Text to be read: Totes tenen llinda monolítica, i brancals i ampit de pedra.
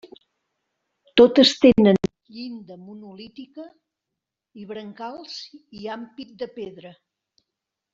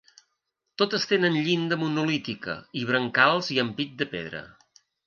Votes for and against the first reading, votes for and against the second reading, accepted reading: 1, 2, 2, 0, second